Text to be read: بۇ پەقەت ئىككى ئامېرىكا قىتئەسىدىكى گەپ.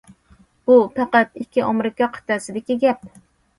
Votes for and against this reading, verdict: 2, 0, accepted